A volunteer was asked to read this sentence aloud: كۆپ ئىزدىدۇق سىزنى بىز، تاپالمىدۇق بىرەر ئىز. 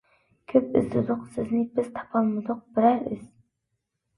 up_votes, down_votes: 2, 0